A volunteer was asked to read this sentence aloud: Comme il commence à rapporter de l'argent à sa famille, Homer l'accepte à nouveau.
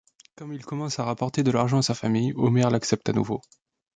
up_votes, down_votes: 2, 0